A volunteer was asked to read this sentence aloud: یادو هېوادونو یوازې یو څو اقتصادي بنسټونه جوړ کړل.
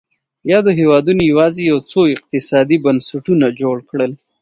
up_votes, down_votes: 2, 0